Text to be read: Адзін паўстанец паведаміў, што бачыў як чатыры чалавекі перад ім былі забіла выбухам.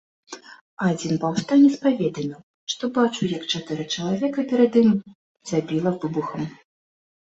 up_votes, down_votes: 1, 2